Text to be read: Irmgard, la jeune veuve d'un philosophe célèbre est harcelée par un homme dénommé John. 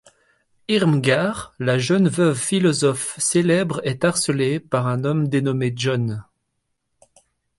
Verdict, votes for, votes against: rejected, 0, 3